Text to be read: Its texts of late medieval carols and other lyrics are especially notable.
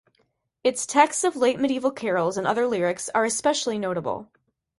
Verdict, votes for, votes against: accepted, 2, 0